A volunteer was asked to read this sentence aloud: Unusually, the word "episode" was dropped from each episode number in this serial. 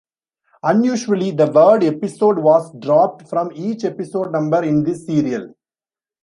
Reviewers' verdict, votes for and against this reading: accepted, 2, 0